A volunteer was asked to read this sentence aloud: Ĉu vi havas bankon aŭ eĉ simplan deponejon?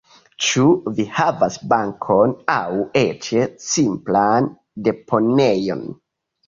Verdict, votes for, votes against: rejected, 1, 2